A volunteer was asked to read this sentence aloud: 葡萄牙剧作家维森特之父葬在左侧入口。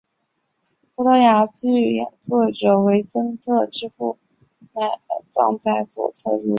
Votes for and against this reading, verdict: 0, 2, rejected